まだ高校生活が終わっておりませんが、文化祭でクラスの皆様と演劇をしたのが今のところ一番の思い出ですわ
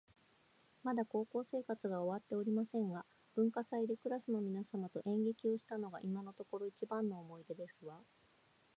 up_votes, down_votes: 0, 2